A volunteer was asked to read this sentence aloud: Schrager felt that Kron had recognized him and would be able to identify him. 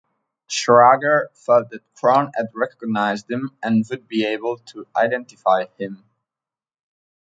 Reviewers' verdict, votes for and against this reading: rejected, 1, 2